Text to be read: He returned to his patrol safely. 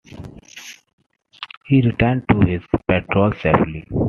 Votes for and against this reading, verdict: 3, 0, accepted